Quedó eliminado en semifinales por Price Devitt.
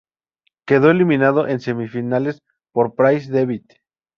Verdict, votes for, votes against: accepted, 2, 0